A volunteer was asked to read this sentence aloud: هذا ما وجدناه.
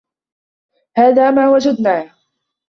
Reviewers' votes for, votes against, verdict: 1, 2, rejected